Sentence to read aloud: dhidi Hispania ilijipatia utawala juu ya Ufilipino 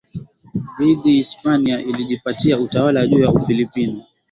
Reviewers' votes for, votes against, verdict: 2, 0, accepted